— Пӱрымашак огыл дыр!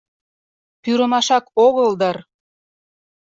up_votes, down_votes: 2, 0